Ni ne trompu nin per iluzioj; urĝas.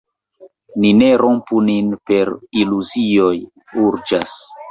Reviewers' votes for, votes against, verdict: 0, 2, rejected